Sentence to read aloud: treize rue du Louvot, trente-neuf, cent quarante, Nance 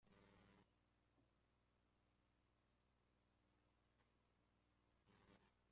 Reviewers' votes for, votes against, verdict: 0, 2, rejected